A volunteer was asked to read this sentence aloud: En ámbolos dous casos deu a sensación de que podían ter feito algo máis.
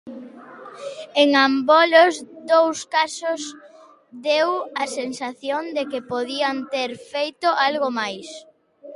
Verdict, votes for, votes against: rejected, 0, 2